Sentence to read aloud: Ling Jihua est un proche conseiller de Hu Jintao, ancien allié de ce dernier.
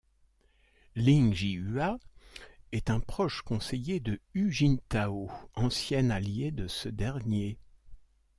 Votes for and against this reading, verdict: 2, 0, accepted